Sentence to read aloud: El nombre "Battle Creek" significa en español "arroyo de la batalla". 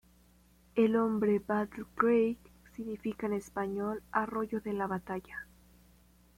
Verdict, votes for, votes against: rejected, 0, 2